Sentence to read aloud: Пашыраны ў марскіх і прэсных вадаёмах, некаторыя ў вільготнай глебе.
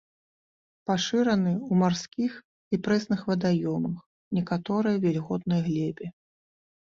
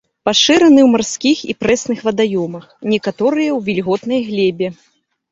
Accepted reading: second